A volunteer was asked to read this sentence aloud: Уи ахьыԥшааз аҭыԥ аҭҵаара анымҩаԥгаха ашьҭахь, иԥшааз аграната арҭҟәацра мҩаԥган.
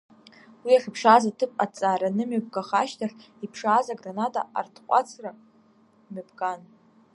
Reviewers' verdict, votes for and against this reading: rejected, 1, 2